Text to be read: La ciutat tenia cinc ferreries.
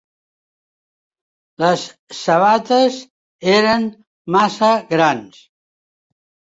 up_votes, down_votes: 0, 2